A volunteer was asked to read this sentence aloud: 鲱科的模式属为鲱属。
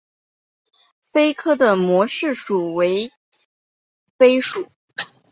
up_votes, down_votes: 6, 0